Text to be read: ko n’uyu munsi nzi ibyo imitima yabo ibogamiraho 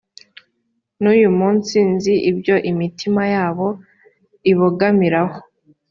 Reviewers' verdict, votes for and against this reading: rejected, 1, 2